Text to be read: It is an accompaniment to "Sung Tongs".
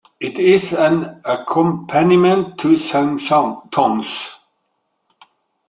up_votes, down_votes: 0, 2